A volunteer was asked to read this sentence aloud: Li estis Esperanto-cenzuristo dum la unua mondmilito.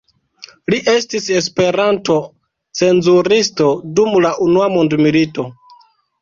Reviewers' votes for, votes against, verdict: 3, 1, accepted